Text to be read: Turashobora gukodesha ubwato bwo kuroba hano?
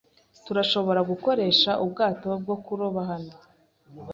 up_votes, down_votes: 1, 2